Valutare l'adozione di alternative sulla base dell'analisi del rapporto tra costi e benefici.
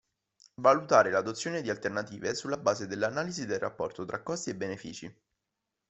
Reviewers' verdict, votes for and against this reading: accepted, 2, 0